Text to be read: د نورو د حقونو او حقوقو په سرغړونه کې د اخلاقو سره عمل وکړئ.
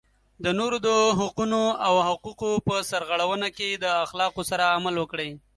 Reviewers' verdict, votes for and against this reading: accepted, 2, 0